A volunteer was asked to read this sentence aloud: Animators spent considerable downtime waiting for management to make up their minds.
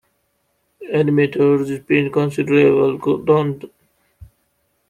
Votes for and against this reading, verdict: 0, 2, rejected